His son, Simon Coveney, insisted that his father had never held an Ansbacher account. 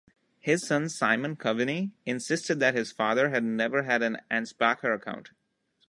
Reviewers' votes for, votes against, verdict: 0, 2, rejected